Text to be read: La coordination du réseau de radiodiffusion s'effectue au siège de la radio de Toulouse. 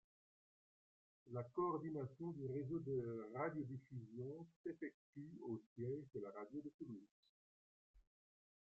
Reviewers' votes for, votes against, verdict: 1, 2, rejected